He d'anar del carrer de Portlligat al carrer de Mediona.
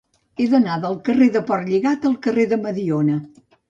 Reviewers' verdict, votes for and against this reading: accepted, 2, 0